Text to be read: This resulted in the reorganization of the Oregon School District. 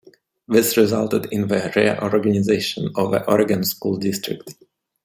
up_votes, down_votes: 1, 2